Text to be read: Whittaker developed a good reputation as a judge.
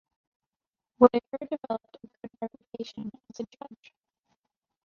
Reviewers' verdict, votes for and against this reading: rejected, 0, 2